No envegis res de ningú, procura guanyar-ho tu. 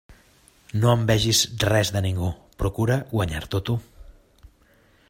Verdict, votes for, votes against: rejected, 0, 2